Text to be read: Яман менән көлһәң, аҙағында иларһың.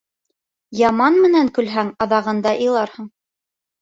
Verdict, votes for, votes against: accepted, 3, 0